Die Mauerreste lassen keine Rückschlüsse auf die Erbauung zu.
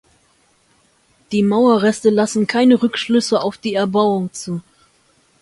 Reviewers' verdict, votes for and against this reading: accepted, 2, 0